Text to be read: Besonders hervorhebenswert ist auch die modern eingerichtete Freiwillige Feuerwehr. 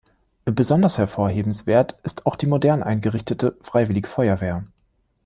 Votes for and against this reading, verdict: 2, 0, accepted